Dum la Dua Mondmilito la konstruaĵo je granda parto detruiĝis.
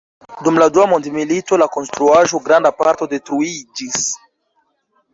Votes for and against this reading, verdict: 1, 2, rejected